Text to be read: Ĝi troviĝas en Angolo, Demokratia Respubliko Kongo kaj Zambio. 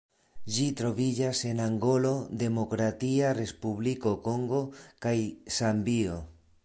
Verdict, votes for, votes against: accepted, 2, 0